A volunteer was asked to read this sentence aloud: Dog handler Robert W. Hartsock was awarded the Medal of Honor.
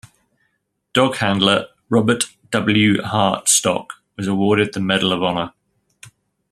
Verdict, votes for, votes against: rejected, 1, 2